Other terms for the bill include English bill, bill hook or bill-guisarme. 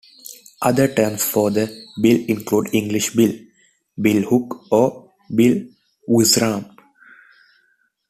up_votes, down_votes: 1, 2